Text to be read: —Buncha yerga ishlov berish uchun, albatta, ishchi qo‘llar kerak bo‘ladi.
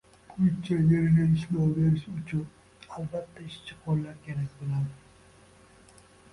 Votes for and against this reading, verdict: 1, 2, rejected